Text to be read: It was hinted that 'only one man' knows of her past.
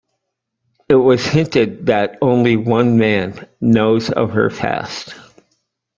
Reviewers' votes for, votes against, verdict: 2, 0, accepted